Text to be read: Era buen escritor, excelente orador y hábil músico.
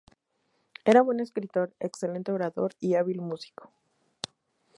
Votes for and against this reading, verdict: 2, 0, accepted